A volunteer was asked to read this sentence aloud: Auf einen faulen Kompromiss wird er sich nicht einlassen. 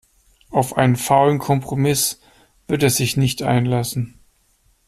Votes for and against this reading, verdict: 2, 0, accepted